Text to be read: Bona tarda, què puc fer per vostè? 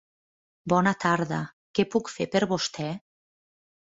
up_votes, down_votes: 1, 2